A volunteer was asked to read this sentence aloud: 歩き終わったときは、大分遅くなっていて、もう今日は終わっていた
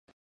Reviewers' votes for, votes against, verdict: 0, 2, rejected